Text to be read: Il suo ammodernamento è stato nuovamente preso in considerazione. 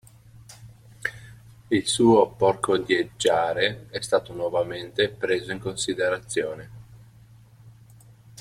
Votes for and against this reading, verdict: 0, 2, rejected